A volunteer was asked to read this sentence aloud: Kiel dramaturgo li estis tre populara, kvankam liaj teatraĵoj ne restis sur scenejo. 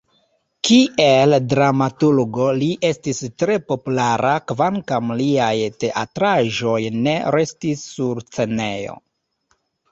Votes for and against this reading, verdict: 0, 2, rejected